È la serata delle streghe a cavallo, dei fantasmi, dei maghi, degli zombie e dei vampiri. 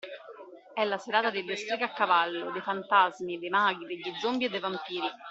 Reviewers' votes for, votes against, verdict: 2, 0, accepted